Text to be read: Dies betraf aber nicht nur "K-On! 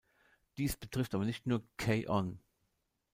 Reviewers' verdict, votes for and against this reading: rejected, 1, 2